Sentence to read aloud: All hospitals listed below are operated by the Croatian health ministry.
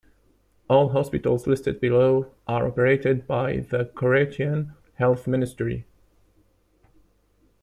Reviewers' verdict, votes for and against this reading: rejected, 1, 2